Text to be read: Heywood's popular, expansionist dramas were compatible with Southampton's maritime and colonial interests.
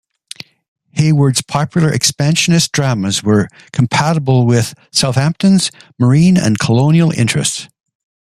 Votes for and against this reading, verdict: 0, 2, rejected